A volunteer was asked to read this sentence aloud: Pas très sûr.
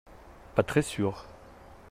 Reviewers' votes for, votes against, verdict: 2, 0, accepted